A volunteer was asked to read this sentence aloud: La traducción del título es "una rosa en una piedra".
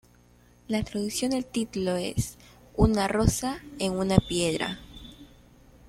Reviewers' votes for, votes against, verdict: 1, 2, rejected